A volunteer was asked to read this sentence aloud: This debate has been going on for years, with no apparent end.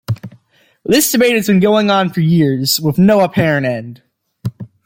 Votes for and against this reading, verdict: 2, 1, accepted